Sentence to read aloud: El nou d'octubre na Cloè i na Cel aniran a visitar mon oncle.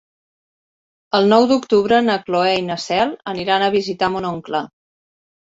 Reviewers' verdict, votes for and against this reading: accepted, 6, 0